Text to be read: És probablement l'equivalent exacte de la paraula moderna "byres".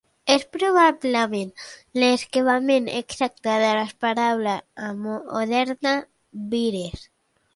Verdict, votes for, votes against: rejected, 0, 2